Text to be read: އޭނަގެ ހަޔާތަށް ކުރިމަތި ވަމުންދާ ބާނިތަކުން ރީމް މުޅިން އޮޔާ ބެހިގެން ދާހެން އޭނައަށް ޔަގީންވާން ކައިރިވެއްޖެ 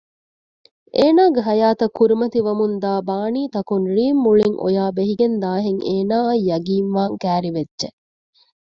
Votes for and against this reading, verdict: 1, 2, rejected